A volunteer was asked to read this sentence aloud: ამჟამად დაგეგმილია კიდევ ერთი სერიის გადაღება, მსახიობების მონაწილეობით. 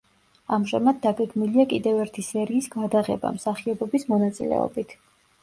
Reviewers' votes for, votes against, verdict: 2, 0, accepted